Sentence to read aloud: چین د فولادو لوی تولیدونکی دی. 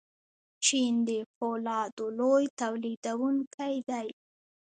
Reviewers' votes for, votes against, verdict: 2, 1, accepted